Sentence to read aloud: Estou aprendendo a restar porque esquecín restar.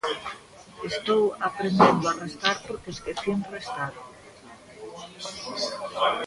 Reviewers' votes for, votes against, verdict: 2, 1, accepted